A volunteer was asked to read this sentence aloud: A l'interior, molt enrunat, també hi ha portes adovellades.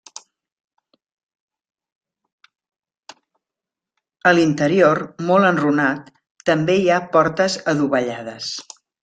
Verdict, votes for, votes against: rejected, 1, 2